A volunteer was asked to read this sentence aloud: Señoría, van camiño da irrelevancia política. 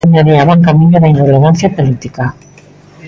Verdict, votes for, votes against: rejected, 1, 2